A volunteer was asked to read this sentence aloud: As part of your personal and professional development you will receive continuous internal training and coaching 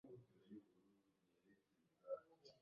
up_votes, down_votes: 0, 2